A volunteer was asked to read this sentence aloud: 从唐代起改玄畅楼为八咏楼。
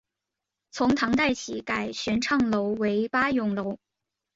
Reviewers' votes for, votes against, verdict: 1, 2, rejected